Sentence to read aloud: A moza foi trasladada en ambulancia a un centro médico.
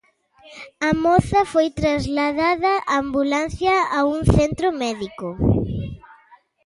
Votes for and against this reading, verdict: 0, 2, rejected